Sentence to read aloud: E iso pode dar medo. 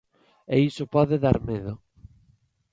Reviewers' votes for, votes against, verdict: 2, 0, accepted